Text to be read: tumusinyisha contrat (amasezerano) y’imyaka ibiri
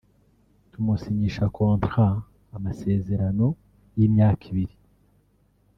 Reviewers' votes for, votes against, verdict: 0, 2, rejected